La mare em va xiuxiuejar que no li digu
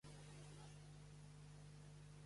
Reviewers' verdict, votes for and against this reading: rejected, 0, 2